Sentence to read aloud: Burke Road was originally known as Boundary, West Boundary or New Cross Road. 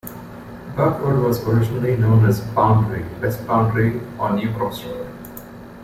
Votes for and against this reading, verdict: 1, 2, rejected